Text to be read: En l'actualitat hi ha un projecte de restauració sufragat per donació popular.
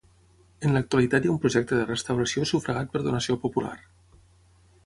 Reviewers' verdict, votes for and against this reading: accepted, 6, 0